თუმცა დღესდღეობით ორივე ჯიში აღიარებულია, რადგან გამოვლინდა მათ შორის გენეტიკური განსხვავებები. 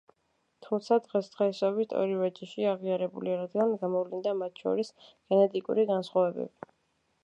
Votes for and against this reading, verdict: 2, 0, accepted